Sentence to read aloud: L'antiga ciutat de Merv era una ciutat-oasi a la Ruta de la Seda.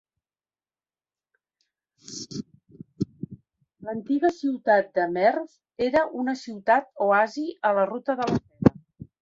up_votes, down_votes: 0, 3